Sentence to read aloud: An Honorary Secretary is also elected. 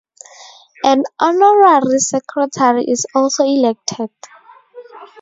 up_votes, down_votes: 0, 4